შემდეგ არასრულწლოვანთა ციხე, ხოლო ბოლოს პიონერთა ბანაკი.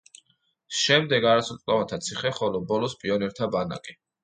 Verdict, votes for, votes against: accepted, 2, 0